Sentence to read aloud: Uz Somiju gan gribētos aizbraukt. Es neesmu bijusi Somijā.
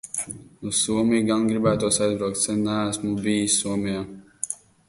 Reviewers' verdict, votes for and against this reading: rejected, 0, 2